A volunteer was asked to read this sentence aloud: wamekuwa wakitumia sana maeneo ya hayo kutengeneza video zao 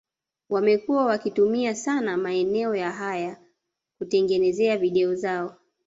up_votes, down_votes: 0, 2